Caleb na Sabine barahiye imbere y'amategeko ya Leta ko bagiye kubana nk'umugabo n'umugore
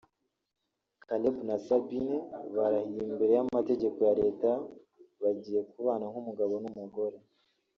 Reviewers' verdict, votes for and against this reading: rejected, 1, 2